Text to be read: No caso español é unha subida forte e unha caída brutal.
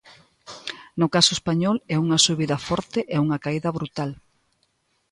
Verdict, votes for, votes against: accepted, 2, 0